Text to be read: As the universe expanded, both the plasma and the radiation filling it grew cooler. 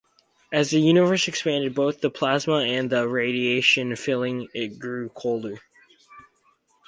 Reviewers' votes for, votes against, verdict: 2, 2, rejected